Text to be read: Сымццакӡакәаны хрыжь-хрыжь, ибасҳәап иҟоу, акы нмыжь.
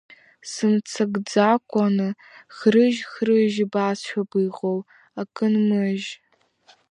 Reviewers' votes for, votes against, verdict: 2, 0, accepted